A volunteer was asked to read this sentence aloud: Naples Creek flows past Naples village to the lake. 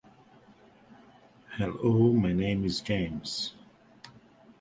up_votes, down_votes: 1, 2